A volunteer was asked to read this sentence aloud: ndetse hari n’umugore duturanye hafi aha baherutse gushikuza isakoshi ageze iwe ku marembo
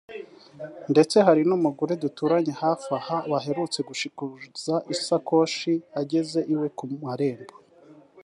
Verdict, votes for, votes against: rejected, 0, 2